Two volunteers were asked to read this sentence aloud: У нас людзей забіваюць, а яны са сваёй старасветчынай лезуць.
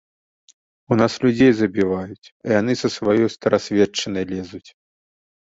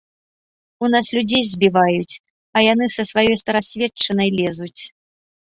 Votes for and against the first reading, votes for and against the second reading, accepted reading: 2, 0, 0, 2, first